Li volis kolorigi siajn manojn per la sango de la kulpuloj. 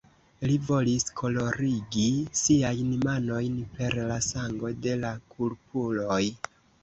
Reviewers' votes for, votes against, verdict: 1, 2, rejected